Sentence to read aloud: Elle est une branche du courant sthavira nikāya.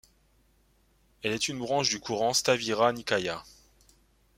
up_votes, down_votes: 2, 0